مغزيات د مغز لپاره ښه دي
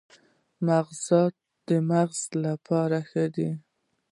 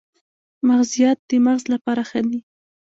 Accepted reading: second